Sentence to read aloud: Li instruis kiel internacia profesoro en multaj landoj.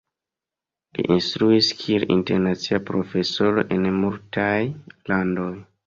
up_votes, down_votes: 1, 3